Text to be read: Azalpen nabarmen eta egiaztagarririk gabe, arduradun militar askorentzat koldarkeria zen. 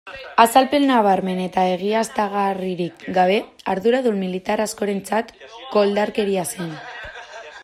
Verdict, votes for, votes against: rejected, 1, 2